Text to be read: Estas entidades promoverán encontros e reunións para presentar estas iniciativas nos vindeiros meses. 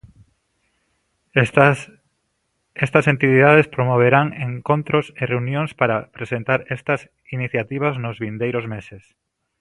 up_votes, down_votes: 0, 2